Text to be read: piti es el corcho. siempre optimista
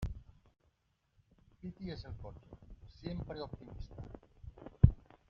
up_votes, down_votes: 0, 2